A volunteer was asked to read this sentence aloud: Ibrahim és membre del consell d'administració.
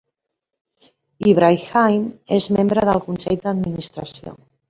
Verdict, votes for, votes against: rejected, 0, 2